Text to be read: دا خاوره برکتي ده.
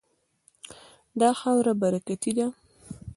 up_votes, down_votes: 0, 2